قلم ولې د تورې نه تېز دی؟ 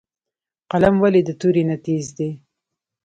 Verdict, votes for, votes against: accepted, 2, 0